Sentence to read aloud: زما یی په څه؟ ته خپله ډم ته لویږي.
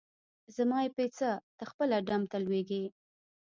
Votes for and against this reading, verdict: 0, 2, rejected